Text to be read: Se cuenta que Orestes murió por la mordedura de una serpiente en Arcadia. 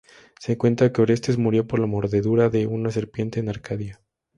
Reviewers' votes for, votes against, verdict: 2, 0, accepted